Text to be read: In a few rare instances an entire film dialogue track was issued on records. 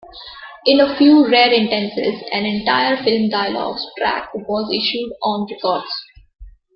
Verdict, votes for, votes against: rejected, 1, 2